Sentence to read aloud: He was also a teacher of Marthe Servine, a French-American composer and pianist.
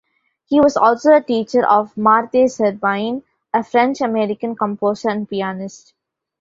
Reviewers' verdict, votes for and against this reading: accepted, 2, 1